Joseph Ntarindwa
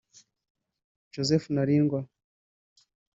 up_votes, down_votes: 1, 2